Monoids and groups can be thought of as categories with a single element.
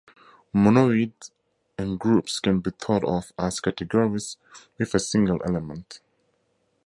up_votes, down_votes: 4, 2